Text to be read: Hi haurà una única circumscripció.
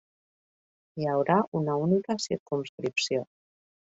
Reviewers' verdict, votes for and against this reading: accepted, 2, 0